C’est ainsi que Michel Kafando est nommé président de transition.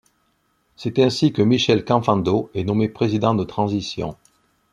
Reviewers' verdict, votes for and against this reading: rejected, 1, 2